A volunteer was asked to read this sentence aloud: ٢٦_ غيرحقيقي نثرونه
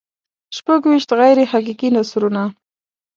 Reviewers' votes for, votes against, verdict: 0, 2, rejected